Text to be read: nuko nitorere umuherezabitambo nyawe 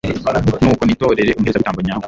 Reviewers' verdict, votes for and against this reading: rejected, 1, 2